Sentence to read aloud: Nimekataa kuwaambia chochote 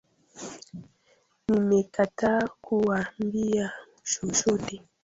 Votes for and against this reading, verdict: 0, 2, rejected